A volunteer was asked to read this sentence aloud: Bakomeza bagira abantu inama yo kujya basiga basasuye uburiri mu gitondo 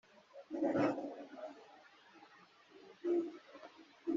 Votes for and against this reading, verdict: 0, 2, rejected